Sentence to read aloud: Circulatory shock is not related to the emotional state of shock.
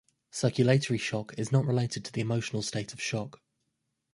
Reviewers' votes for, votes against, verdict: 1, 2, rejected